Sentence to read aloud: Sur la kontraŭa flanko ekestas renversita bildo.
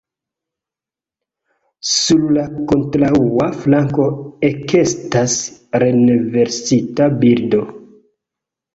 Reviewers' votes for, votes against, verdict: 0, 2, rejected